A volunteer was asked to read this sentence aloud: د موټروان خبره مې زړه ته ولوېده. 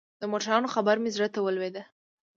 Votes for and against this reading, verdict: 1, 2, rejected